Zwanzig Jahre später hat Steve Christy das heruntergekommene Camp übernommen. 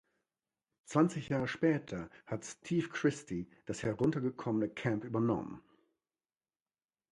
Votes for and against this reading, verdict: 2, 0, accepted